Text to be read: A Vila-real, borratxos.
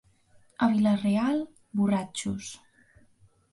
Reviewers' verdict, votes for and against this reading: accepted, 2, 0